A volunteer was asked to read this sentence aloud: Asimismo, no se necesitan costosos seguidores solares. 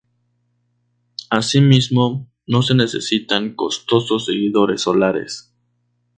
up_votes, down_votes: 2, 2